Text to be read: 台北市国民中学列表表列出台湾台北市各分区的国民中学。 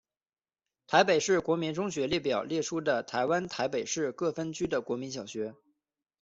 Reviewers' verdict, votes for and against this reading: rejected, 1, 2